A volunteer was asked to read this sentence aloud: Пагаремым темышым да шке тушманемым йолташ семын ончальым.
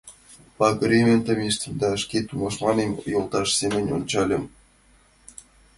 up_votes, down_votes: 2, 1